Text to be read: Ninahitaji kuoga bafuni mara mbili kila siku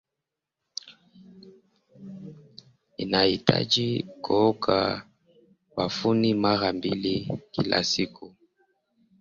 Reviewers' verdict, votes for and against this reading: rejected, 0, 2